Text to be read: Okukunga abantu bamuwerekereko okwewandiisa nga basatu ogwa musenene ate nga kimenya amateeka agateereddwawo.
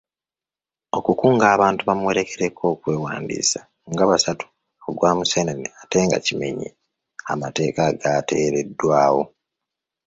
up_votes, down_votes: 2, 3